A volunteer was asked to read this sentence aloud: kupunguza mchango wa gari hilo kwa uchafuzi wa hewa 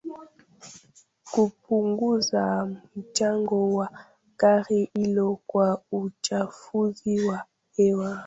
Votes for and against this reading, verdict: 0, 2, rejected